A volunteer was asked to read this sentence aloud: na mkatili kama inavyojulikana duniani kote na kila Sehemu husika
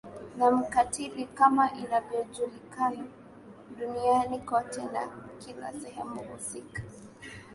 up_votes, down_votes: 2, 0